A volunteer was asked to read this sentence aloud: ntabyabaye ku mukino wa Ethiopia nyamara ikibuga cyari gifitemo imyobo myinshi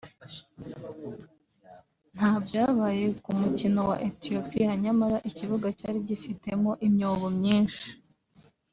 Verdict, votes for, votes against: accepted, 2, 1